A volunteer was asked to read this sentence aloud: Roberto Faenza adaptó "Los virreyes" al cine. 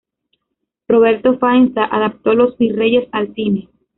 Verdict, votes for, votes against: rejected, 0, 2